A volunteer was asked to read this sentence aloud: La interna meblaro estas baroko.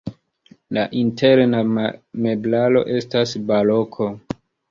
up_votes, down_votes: 2, 0